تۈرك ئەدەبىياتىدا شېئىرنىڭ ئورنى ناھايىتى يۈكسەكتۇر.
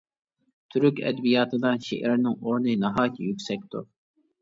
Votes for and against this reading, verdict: 2, 0, accepted